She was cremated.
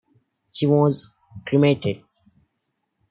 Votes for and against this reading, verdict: 2, 0, accepted